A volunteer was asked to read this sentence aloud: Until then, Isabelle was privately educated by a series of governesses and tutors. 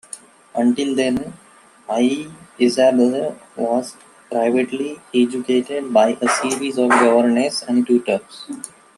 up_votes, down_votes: 0, 2